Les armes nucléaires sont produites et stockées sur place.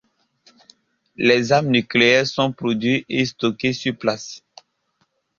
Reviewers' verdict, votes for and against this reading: rejected, 1, 2